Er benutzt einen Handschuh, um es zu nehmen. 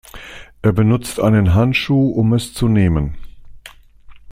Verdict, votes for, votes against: accepted, 2, 0